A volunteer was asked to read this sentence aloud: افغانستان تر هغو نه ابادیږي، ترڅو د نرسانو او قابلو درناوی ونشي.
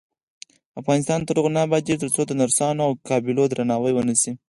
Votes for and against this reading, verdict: 2, 4, rejected